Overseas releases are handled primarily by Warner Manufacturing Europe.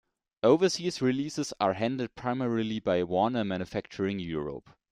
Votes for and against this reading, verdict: 2, 1, accepted